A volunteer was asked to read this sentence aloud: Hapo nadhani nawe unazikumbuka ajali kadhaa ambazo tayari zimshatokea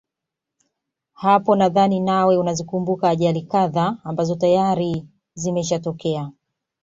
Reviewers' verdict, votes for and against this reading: rejected, 0, 2